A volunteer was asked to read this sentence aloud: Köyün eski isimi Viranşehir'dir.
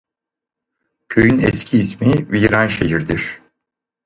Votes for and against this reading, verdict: 0, 4, rejected